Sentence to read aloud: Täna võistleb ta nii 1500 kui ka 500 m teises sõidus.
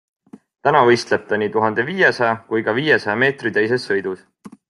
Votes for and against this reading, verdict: 0, 2, rejected